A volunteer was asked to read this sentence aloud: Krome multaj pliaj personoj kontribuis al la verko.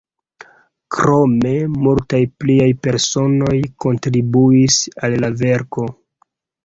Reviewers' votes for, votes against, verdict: 2, 0, accepted